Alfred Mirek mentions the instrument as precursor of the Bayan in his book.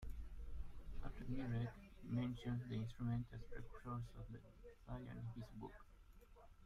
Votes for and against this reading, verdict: 0, 2, rejected